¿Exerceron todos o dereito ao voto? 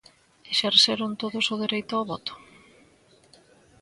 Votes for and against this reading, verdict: 2, 0, accepted